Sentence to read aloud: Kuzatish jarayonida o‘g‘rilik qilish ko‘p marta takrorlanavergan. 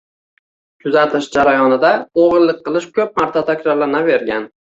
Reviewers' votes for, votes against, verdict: 2, 0, accepted